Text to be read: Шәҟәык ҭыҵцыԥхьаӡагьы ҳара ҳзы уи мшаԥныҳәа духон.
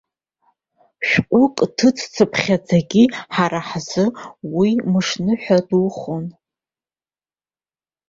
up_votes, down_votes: 0, 2